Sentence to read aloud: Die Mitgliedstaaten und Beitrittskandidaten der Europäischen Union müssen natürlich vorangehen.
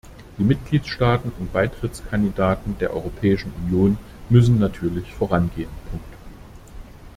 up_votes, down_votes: 0, 2